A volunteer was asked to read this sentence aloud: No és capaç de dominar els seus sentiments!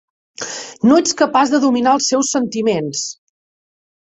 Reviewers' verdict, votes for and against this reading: rejected, 0, 2